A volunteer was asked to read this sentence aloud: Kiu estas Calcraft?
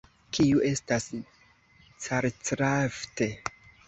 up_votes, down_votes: 0, 2